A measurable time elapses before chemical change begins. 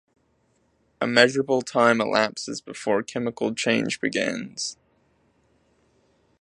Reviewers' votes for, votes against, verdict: 2, 0, accepted